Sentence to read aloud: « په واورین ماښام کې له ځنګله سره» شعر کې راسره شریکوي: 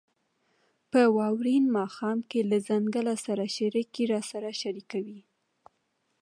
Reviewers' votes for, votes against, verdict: 2, 0, accepted